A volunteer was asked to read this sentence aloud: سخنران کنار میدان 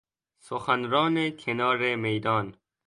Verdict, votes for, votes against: accepted, 2, 0